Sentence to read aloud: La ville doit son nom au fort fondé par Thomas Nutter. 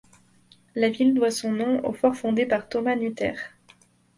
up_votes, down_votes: 2, 0